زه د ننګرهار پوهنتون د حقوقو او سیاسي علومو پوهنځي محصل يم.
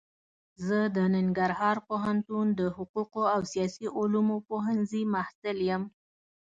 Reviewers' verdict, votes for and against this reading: accepted, 2, 0